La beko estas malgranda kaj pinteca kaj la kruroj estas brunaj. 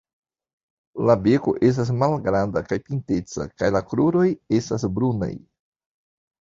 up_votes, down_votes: 2, 1